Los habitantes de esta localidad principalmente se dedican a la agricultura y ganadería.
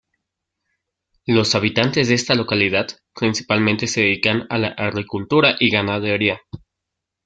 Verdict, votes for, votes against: accepted, 2, 0